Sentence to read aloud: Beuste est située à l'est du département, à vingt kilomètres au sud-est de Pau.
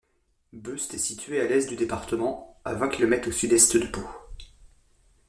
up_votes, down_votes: 2, 0